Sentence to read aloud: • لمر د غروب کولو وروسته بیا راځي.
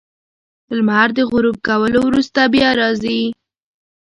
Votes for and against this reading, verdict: 3, 0, accepted